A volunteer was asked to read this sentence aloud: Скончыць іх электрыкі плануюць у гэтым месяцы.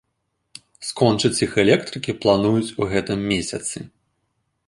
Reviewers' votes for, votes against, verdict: 2, 0, accepted